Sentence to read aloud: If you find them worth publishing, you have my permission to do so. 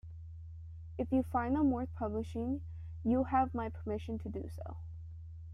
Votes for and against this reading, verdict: 2, 0, accepted